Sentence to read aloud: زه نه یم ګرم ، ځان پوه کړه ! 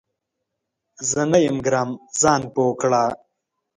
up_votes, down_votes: 3, 0